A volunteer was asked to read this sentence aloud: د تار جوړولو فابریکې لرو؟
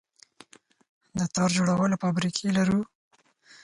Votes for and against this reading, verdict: 4, 0, accepted